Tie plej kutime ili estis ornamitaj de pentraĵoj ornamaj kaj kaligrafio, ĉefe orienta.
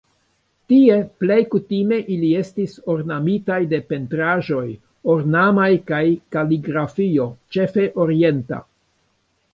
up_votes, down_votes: 2, 1